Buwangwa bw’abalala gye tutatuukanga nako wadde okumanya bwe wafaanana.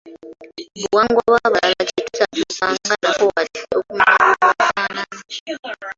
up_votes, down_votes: 0, 2